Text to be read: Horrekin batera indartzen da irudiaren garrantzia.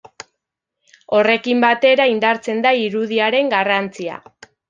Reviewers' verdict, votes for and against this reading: accepted, 2, 0